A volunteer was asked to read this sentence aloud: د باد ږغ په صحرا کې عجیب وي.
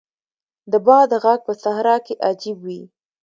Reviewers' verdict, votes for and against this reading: accepted, 2, 0